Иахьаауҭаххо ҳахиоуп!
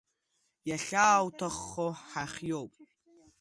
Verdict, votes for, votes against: accepted, 2, 0